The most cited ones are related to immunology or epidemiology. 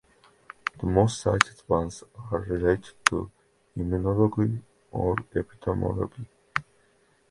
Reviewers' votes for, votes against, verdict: 1, 2, rejected